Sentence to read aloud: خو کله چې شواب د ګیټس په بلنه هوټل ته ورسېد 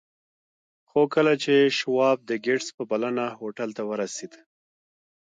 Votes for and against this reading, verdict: 1, 2, rejected